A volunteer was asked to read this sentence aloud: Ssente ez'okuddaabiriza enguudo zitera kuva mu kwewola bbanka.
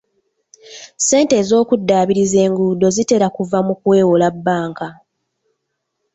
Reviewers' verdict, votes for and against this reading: rejected, 1, 2